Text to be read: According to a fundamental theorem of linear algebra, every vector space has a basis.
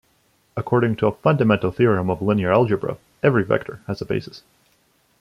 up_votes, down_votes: 1, 2